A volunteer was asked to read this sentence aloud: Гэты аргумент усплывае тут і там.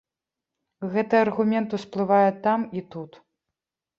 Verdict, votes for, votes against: rejected, 1, 3